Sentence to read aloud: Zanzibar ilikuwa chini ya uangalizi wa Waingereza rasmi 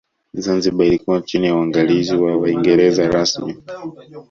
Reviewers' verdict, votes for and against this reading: rejected, 1, 2